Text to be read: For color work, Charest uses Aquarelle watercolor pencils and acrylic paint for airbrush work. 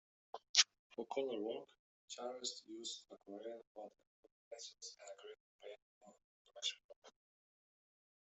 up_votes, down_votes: 0, 2